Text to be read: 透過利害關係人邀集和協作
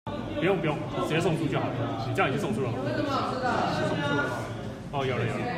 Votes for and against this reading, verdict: 0, 2, rejected